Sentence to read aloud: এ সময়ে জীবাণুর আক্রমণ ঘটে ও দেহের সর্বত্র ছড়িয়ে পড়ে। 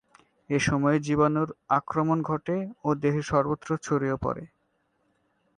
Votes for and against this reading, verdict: 7, 0, accepted